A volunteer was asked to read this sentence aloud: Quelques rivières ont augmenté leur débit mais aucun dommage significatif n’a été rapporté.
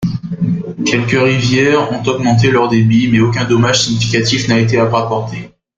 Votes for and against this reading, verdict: 2, 0, accepted